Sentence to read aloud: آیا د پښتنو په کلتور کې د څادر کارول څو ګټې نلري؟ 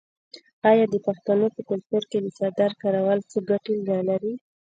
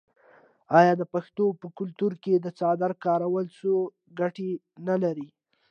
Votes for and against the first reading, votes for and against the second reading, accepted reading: 0, 2, 2, 0, second